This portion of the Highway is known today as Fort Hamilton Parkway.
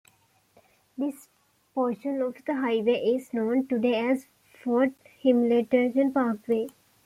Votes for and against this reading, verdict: 1, 2, rejected